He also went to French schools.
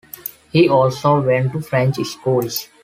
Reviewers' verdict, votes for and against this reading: accepted, 2, 0